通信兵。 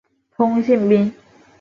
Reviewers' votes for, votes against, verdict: 2, 0, accepted